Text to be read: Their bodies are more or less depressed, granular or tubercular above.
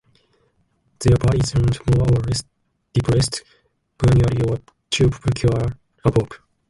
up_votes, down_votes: 0, 2